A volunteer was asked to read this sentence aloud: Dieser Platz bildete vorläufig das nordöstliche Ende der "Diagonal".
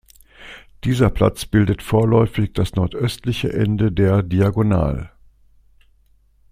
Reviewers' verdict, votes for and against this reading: accepted, 2, 0